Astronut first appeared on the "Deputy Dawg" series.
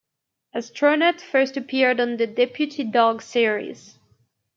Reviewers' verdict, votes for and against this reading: accepted, 2, 0